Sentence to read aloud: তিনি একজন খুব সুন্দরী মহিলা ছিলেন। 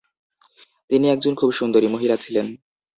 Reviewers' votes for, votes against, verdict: 2, 0, accepted